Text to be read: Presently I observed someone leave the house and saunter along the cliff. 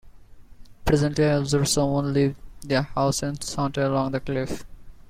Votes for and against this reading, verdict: 1, 2, rejected